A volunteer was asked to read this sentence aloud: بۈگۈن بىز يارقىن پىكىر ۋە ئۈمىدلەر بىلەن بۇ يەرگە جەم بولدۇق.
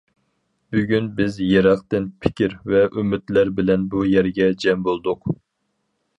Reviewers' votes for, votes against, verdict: 0, 2, rejected